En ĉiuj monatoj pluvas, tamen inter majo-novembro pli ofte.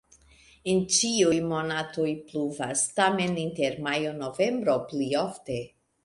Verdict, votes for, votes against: accepted, 2, 0